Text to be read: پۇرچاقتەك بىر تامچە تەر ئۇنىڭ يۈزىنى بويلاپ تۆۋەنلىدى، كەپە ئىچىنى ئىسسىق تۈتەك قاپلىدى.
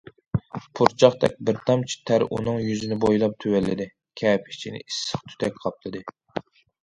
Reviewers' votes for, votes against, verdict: 2, 0, accepted